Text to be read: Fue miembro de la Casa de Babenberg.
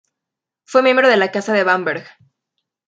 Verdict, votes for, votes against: rejected, 0, 2